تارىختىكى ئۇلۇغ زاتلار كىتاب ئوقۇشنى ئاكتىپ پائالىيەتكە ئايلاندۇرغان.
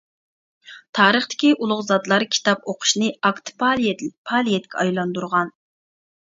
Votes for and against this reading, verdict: 0, 2, rejected